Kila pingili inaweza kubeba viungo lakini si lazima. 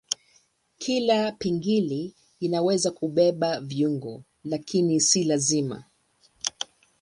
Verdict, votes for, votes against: accepted, 3, 0